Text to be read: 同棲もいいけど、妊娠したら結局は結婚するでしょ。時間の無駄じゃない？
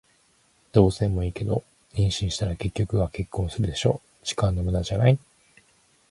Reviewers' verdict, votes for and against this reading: rejected, 2, 4